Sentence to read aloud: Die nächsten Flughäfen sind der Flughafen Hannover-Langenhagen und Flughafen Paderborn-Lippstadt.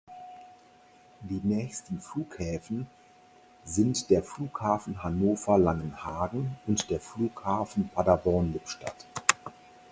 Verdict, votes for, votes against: rejected, 0, 4